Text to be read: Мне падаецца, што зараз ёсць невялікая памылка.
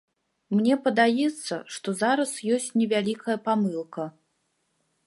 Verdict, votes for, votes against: accepted, 2, 0